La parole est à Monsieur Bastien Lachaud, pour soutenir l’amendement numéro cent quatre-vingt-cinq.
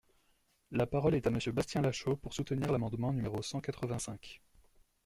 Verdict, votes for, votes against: accepted, 2, 0